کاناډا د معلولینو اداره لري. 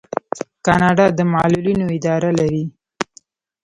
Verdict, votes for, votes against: accepted, 2, 0